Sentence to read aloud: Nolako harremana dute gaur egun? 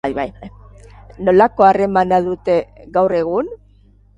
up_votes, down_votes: 4, 0